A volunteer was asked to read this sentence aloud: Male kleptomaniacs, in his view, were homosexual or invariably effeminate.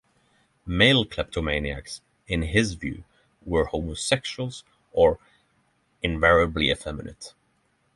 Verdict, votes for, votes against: rejected, 3, 3